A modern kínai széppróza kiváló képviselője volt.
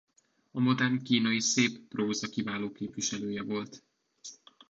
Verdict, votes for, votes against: accepted, 2, 1